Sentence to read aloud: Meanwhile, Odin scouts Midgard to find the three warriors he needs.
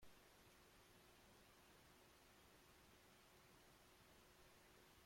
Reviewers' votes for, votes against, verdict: 0, 2, rejected